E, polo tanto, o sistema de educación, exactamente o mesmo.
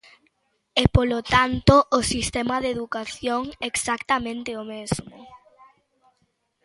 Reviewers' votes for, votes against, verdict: 3, 0, accepted